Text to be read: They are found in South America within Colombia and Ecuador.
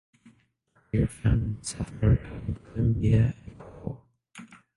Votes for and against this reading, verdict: 0, 6, rejected